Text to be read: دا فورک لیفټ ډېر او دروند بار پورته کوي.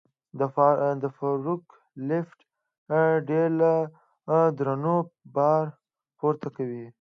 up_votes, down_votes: 1, 3